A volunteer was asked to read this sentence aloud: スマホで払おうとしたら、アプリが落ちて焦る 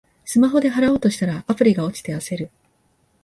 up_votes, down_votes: 3, 1